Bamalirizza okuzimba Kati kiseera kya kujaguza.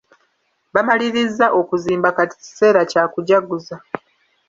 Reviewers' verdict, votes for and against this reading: accepted, 2, 0